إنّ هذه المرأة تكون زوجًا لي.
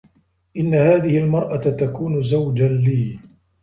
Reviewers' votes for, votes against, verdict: 2, 0, accepted